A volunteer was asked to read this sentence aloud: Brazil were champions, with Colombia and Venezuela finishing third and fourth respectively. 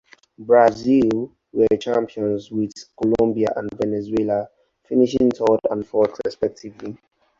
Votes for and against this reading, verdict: 0, 2, rejected